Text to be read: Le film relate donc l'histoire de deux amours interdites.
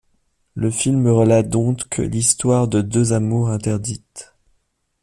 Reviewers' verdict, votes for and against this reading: rejected, 0, 2